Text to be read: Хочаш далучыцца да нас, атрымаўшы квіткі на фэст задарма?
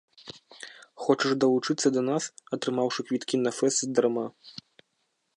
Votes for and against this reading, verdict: 1, 2, rejected